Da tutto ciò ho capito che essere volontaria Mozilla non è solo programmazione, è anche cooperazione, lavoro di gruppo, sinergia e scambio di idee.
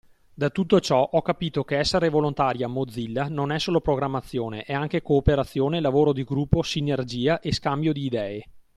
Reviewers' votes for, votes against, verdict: 2, 0, accepted